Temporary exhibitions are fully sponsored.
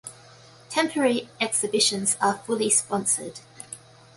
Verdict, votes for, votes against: accepted, 2, 0